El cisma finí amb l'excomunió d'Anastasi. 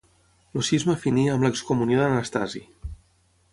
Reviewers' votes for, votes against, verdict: 3, 3, rejected